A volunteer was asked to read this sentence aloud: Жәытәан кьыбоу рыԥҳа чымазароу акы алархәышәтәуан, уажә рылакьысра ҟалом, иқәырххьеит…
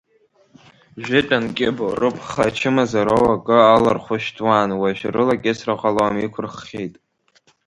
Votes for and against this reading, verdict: 1, 2, rejected